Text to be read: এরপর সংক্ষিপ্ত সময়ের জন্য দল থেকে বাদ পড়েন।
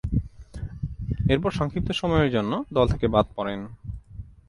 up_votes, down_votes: 2, 0